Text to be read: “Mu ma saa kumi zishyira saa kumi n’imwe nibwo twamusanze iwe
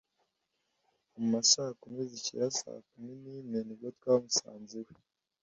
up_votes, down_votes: 2, 0